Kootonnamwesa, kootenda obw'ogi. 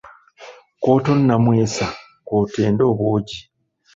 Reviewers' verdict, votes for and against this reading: rejected, 1, 2